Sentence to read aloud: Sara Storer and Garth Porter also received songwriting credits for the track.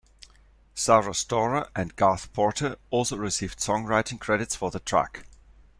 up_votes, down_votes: 2, 1